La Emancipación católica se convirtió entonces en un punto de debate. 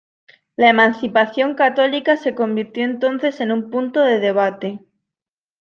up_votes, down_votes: 2, 0